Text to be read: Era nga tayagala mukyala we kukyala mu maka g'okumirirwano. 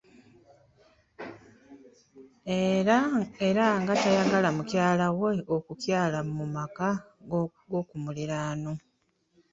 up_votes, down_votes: 0, 2